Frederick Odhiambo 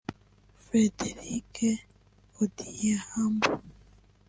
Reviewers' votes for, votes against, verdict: 0, 2, rejected